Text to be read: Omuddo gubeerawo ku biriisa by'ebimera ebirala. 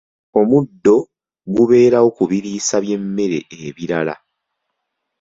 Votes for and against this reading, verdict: 0, 2, rejected